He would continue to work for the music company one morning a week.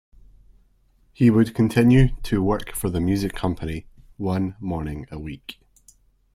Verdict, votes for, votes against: accepted, 2, 0